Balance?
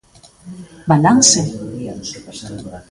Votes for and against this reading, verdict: 2, 0, accepted